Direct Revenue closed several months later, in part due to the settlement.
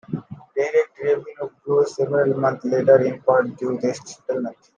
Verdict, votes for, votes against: rejected, 0, 2